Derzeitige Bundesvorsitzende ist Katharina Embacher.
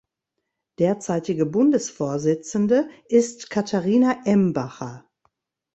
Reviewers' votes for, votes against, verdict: 2, 0, accepted